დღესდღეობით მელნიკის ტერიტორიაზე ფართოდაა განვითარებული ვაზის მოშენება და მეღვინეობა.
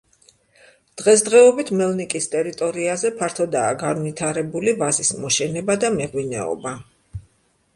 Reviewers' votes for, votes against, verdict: 2, 0, accepted